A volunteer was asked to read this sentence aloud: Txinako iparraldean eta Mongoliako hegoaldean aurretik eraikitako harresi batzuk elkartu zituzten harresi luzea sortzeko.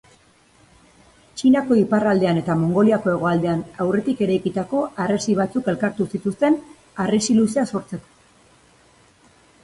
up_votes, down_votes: 2, 0